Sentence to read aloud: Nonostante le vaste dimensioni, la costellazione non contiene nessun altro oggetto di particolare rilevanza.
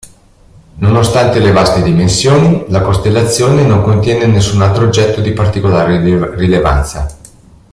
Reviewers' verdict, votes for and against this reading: rejected, 1, 2